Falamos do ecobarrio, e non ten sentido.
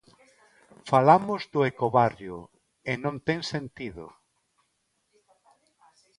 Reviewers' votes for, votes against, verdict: 2, 0, accepted